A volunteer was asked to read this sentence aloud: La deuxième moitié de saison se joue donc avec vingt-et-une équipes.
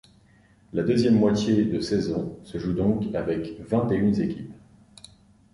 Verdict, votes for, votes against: rejected, 0, 2